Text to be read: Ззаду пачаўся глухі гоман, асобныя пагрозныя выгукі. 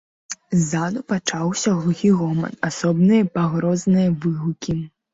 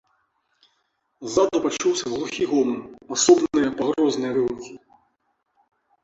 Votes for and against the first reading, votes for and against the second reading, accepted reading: 2, 0, 2, 3, first